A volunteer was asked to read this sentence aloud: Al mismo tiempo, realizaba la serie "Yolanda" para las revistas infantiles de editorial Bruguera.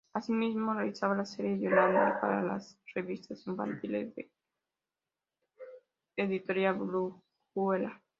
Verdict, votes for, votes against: rejected, 0, 2